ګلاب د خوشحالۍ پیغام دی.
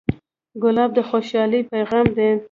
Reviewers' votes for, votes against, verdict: 2, 0, accepted